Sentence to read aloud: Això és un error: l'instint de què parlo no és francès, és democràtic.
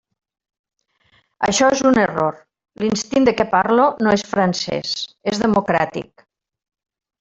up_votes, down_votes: 1, 2